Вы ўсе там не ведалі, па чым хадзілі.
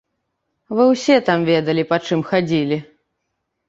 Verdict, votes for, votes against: rejected, 0, 2